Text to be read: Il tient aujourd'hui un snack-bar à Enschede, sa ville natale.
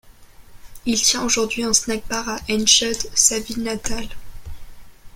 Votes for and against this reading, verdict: 0, 2, rejected